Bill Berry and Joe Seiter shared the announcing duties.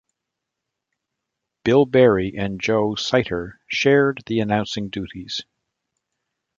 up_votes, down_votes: 0, 2